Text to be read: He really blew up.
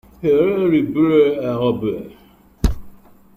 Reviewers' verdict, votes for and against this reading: rejected, 0, 2